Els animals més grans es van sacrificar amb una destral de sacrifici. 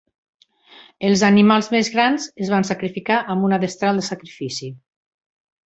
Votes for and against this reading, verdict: 4, 0, accepted